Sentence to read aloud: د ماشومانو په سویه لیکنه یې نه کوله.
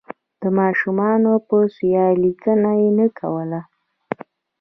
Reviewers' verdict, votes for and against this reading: rejected, 1, 2